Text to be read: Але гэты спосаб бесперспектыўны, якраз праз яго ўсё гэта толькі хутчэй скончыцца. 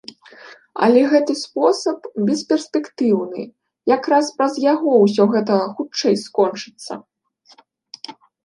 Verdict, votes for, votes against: rejected, 0, 2